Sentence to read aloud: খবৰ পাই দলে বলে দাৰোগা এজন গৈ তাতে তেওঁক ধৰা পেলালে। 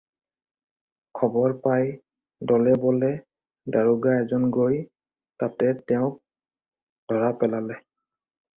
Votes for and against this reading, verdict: 4, 0, accepted